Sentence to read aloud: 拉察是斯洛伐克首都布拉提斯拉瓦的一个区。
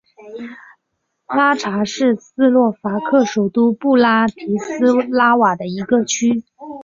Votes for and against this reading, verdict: 8, 0, accepted